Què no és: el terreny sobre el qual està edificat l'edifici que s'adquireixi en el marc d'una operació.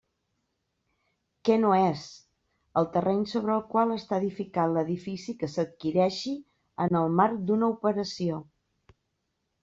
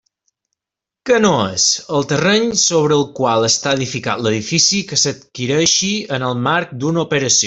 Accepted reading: first